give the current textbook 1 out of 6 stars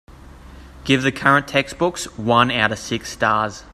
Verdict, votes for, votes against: rejected, 0, 2